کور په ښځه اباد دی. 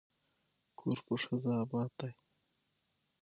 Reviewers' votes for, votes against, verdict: 6, 3, accepted